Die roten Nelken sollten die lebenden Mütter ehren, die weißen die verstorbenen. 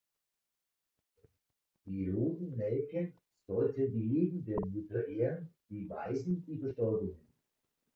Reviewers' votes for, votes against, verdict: 0, 2, rejected